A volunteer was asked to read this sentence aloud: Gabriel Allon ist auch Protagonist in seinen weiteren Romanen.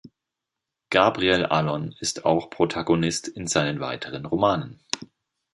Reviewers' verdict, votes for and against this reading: accepted, 2, 0